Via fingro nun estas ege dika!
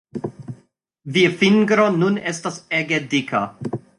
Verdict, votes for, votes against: rejected, 1, 2